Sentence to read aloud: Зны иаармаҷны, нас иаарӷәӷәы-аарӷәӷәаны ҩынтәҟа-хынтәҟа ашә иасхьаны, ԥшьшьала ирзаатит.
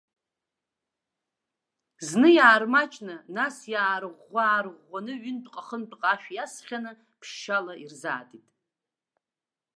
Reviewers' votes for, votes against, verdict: 2, 1, accepted